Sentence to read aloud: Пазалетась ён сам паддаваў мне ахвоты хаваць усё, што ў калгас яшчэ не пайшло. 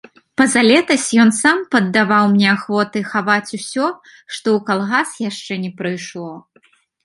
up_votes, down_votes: 0, 2